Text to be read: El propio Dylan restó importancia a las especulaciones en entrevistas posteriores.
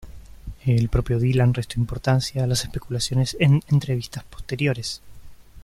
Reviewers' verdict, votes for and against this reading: accepted, 2, 0